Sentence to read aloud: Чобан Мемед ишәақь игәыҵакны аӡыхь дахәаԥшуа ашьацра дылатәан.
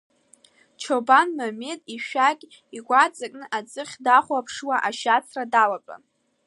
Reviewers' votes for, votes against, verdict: 1, 2, rejected